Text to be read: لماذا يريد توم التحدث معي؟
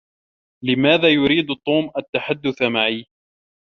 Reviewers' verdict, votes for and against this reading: accepted, 2, 0